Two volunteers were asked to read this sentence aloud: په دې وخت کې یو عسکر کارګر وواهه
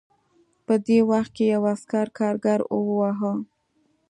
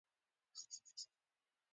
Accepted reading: first